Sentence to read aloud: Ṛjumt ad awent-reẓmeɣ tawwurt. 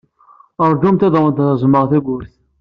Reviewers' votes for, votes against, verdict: 2, 0, accepted